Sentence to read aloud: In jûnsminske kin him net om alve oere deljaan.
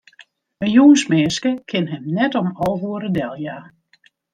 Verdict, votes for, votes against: rejected, 1, 2